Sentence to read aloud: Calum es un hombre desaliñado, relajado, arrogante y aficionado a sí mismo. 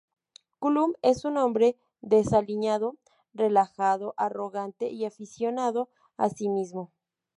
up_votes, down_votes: 0, 2